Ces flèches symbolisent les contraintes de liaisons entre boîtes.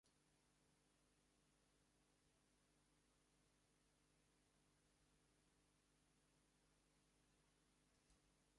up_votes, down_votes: 0, 2